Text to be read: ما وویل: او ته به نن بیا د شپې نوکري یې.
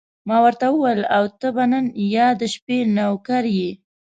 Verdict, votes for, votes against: rejected, 1, 2